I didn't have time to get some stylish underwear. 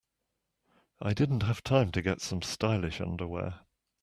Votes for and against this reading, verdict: 2, 0, accepted